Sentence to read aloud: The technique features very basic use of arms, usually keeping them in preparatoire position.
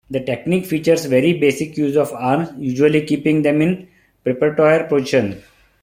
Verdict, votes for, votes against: accepted, 2, 0